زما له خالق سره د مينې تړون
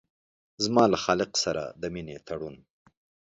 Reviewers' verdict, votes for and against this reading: accepted, 2, 0